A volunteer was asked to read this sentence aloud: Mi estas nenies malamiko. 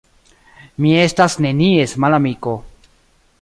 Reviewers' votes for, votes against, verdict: 2, 1, accepted